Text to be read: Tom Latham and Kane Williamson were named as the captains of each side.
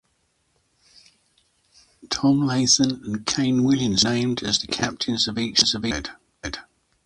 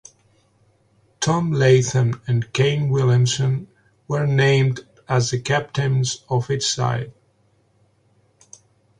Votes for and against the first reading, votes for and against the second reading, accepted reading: 0, 2, 2, 0, second